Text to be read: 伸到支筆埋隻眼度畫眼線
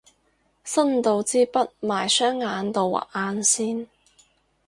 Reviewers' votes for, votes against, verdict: 0, 6, rejected